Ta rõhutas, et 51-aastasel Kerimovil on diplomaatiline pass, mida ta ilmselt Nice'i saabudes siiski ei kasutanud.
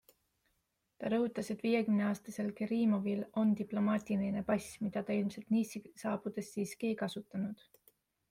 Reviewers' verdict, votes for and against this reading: rejected, 0, 2